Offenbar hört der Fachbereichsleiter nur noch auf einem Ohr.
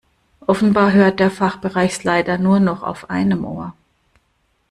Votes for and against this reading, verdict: 1, 2, rejected